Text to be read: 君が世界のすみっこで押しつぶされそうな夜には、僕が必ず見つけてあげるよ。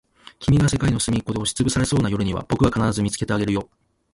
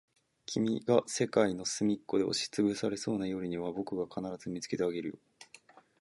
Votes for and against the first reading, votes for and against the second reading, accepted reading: 0, 2, 2, 0, second